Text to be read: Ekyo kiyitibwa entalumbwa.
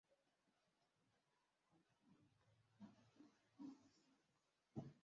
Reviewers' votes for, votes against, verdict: 0, 2, rejected